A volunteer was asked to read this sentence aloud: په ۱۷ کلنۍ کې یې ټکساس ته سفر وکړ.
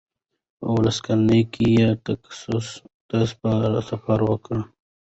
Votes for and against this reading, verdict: 0, 2, rejected